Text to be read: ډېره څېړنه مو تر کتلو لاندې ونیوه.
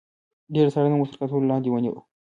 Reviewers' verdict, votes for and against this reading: accepted, 2, 0